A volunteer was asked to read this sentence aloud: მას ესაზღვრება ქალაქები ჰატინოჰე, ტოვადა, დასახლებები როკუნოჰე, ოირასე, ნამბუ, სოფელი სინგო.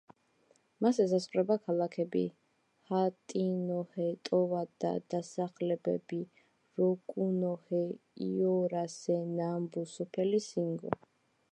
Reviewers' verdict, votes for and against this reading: accepted, 2, 1